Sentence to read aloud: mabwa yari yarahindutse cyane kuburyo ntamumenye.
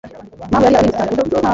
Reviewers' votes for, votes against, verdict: 1, 2, rejected